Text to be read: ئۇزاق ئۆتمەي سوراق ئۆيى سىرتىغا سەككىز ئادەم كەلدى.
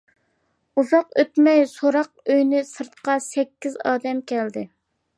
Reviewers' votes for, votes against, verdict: 0, 2, rejected